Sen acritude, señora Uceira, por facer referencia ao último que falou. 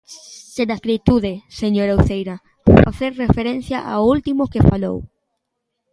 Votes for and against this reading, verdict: 2, 1, accepted